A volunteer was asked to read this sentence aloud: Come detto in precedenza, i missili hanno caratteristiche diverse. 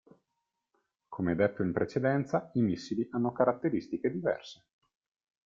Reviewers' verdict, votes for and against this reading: accepted, 2, 0